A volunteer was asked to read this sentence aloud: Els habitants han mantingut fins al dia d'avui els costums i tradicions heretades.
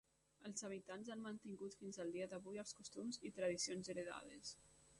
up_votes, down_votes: 1, 3